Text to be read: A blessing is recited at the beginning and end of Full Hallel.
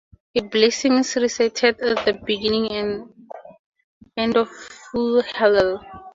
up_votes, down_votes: 2, 0